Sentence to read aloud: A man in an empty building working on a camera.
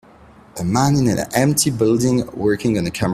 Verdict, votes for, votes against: rejected, 1, 2